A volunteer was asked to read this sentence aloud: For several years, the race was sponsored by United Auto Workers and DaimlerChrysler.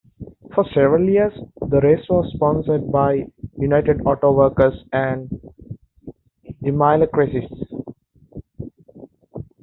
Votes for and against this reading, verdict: 1, 2, rejected